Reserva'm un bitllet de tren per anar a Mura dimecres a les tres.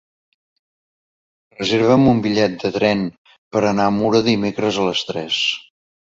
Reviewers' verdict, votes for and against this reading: accepted, 2, 0